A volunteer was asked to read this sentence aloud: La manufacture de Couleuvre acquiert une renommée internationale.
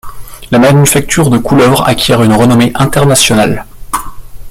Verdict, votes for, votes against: rejected, 1, 2